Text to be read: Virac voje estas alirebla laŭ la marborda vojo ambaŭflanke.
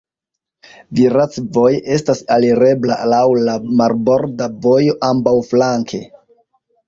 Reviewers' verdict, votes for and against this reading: rejected, 0, 2